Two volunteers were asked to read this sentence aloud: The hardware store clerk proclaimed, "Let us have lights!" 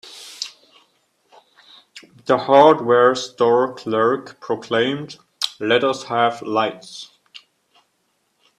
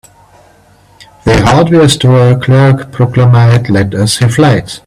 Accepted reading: first